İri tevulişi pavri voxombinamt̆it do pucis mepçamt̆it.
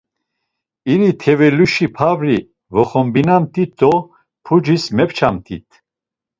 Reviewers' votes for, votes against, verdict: 1, 2, rejected